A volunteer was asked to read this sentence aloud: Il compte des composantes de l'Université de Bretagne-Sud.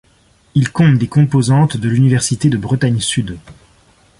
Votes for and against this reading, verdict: 2, 0, accepted